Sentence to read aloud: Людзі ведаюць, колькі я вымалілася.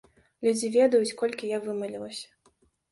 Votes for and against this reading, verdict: 2, 0, accepted